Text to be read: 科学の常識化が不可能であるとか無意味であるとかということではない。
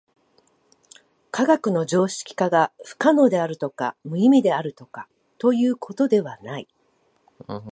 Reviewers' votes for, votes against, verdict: 2, 0, accepted